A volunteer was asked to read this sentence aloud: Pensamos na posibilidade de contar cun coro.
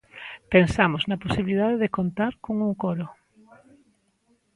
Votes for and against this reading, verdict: 0, 2, rejected